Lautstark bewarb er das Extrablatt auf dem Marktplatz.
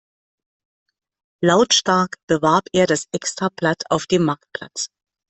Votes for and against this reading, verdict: 2, 0, accepted